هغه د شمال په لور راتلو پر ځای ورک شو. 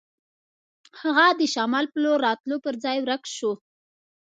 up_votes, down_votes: 2, 0